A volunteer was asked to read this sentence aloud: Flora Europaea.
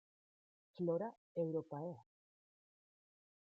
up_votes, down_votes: 0, 2